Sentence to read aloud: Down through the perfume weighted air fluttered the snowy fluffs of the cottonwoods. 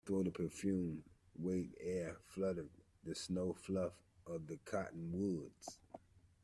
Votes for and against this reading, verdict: 1, 2, rejected